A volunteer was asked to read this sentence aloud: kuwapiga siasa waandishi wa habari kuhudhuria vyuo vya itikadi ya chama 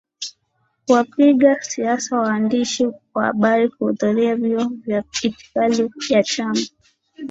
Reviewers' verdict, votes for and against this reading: accepted, 2, 0